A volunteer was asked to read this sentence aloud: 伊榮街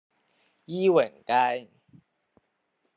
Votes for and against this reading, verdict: 1, 2, rejected